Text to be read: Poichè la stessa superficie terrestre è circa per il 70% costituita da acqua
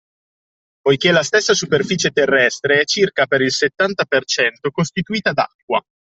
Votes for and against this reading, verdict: 0, 2, rejected